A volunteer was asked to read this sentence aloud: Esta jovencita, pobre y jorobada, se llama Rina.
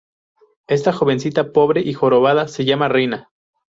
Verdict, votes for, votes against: rejected, 0, 2